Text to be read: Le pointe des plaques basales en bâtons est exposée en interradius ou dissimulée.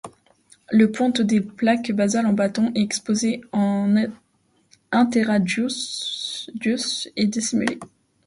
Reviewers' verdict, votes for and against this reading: rejected, 1, 2